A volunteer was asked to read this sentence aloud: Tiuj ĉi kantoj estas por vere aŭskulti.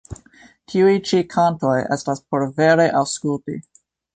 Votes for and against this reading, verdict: 3, 0, accepted